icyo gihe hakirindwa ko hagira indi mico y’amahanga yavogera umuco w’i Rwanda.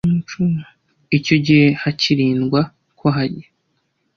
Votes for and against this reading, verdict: 0, 2, rejected